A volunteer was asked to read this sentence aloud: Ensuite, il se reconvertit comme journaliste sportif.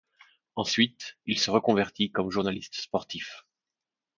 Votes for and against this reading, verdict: 2, 0, accepted